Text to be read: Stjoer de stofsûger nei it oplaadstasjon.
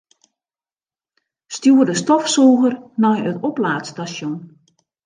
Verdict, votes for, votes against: accepted, 3, 2